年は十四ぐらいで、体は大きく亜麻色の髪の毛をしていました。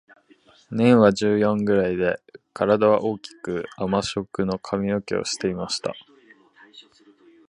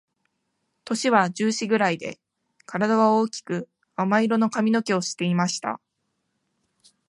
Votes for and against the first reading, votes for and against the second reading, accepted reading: 1, 2, 2, 0, second